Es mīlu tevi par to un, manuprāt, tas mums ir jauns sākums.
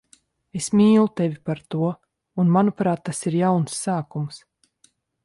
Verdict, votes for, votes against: rejected, 0, 2